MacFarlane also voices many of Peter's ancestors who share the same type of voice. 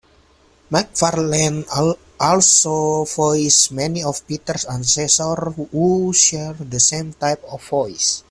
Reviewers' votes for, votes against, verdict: 2, 1, accepted